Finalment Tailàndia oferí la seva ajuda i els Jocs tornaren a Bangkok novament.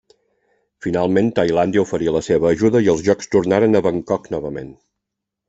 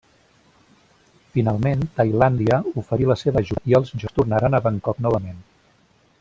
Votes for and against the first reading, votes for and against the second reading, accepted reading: 3, 0, 0, 2, first